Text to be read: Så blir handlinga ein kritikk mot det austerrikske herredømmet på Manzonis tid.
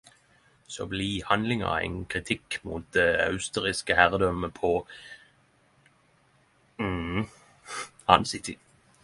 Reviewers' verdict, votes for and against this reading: rejected, 0, 10